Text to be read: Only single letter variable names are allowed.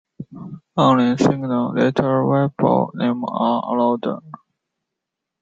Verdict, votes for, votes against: rejected, 1, 2